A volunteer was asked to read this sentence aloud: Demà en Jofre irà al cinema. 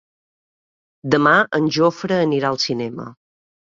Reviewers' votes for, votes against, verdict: 1, 2, rejected